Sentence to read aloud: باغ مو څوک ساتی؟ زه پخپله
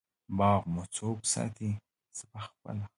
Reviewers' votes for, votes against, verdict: 2, 0, accepted